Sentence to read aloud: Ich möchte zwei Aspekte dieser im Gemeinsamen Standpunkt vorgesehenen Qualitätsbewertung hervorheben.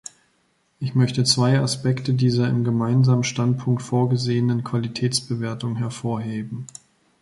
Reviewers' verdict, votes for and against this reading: accepted, 2, 0